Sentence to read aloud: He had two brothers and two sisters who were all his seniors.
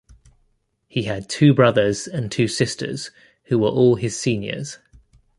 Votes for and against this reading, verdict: 2, 0, accepted